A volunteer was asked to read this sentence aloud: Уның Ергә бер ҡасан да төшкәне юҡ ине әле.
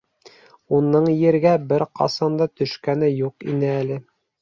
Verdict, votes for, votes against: accepted, 2, 0